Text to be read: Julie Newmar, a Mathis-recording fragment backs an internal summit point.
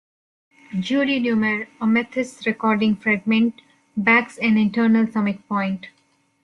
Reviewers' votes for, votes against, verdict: 2, 0, accepted